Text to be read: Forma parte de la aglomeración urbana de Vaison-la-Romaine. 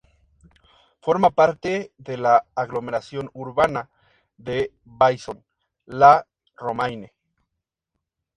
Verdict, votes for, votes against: accepted, 4, 0